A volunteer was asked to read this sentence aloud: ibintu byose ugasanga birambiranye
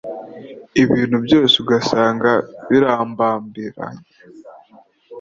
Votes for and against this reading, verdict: 1, 2, rejected